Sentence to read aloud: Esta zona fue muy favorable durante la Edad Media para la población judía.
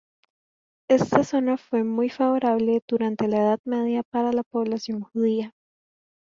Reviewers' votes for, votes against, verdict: 0, 2, rejected